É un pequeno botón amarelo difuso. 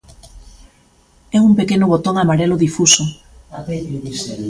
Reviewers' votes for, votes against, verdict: 1, 2, rejected